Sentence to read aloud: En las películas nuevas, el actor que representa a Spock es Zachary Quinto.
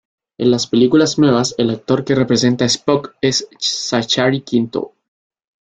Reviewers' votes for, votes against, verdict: 2, 1, accepted